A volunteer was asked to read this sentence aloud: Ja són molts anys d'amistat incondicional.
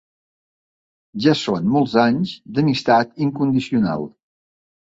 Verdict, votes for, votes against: accepted, 2, 0